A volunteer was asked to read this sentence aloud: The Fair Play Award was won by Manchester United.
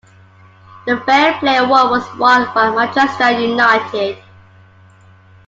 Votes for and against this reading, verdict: 2, 0, accepted